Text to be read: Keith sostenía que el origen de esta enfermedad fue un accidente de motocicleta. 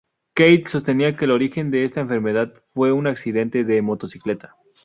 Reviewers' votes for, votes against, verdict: 2, 0, accepted